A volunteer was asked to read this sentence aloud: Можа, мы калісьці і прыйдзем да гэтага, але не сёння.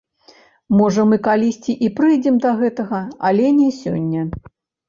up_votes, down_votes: 0, 2